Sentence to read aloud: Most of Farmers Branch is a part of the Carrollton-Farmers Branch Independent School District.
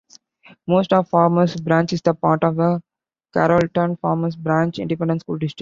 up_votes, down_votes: 0, 2